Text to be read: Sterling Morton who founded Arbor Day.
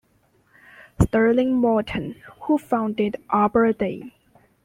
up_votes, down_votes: 2, 1